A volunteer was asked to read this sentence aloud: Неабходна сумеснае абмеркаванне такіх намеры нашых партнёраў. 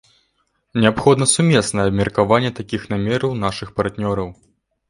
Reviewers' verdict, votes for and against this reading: rejected, 0, 2